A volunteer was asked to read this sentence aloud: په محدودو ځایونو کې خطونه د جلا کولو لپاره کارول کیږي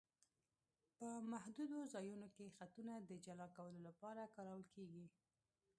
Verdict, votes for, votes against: rejected, 1, 2